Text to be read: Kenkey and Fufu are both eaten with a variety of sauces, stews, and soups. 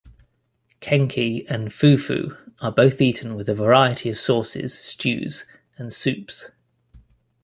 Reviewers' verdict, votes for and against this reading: rejected, 0, 2